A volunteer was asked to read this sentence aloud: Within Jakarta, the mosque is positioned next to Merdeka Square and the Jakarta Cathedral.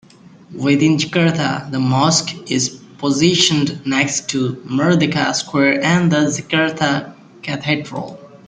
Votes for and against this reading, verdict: 3, 1, accepted